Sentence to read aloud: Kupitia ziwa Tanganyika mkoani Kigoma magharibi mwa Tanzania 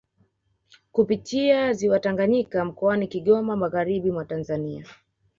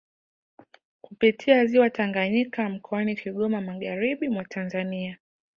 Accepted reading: first